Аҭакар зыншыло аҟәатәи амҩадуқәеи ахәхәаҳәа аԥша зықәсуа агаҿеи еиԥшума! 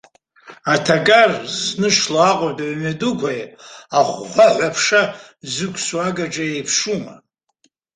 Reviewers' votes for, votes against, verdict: 2, 0, accepted